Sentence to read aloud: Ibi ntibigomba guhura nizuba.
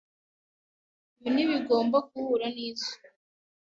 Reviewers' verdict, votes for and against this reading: rejected, 0, 2